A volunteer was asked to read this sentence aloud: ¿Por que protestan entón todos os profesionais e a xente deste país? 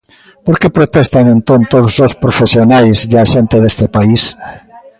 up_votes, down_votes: 1, 2